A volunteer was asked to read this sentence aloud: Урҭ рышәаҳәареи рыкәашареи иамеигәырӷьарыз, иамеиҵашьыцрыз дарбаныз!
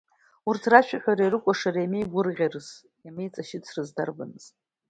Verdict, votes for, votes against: accepted, 2, 0